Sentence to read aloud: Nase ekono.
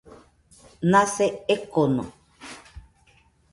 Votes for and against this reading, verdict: 2, 0, accepted